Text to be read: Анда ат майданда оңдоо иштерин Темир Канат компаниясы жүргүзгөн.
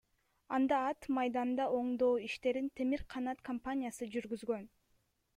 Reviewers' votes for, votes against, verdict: 1, 2, rejected